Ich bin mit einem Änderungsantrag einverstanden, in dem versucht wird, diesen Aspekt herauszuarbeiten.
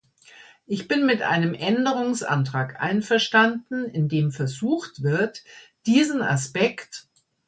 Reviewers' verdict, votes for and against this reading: rejected, 1, 2